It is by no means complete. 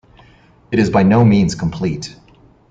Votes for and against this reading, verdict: 2, 0, accepted